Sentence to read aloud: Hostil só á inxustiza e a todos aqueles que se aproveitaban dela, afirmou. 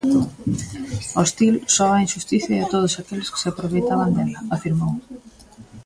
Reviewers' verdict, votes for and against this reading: rejected, 0, 2